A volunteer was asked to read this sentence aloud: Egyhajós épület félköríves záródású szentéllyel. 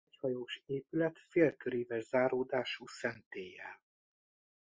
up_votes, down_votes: 2, 1